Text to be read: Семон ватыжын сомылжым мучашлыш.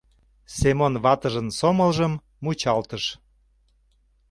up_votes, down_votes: 0, 2